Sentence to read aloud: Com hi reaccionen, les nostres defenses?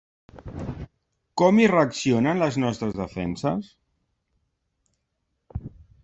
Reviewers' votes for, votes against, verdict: 3, 0, accepted